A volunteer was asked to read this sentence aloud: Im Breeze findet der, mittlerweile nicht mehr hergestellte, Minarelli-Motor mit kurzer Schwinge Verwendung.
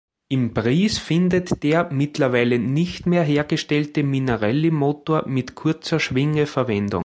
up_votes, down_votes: 1, 2